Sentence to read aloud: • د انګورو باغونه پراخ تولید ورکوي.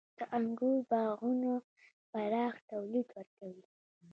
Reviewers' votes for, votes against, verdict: 1, 2, rejected